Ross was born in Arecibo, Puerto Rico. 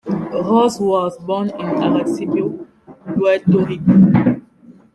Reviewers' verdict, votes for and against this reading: accepted, 2, 1